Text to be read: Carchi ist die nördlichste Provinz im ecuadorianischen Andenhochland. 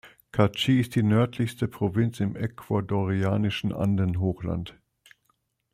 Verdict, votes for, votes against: accepted, 2, 0